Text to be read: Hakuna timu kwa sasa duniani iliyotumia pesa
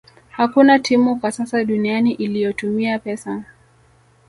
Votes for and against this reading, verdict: 2, 0, accepted